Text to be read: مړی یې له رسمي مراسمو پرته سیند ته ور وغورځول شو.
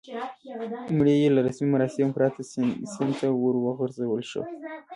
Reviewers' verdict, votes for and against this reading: rejected, 0, 2